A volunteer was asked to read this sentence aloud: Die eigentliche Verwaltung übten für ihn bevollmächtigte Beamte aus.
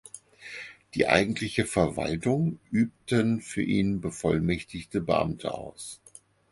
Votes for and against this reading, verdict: 4, 0, accepted